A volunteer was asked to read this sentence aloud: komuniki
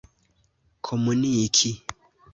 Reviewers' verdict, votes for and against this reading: accepted, 2, 0